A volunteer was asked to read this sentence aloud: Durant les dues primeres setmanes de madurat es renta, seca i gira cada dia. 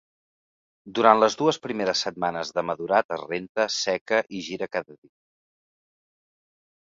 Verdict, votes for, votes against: rejected, 0, 2